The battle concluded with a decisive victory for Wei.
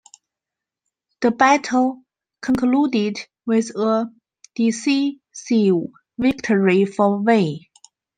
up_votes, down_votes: 0, 2